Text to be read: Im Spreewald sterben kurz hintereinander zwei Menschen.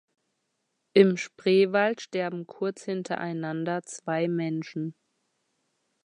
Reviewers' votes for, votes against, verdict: 2, 0, accepted